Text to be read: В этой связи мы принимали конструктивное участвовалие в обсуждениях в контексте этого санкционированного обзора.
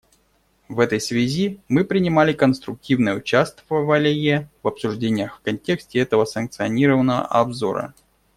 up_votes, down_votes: 2, 0